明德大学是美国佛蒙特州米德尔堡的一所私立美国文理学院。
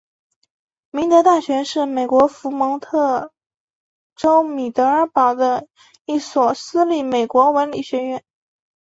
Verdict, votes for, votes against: accepted, 2, 1